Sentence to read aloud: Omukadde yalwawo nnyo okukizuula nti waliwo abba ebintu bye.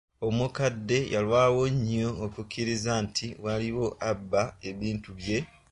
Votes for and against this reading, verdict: 0, 2, rejected